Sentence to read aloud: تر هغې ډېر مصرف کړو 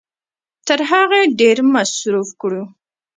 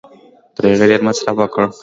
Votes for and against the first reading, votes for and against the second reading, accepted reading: 1, 2, 2, 1, second